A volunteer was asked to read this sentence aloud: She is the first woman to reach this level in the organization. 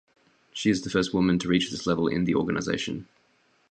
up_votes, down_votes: 0, 2